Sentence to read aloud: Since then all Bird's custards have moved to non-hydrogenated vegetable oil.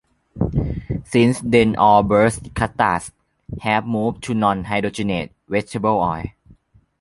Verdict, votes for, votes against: rejected, 0, 2